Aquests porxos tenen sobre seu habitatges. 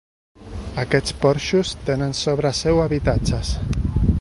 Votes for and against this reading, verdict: 1, 2, rejected